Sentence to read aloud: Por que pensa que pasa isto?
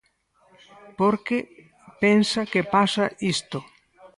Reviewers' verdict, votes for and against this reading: rejected, 2, 4